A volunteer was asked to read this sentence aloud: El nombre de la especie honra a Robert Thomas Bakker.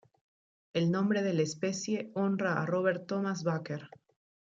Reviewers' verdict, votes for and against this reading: accepted, 2, 0